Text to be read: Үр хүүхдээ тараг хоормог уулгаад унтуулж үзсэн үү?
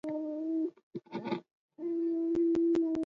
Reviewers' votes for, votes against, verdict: 0, 2, rejected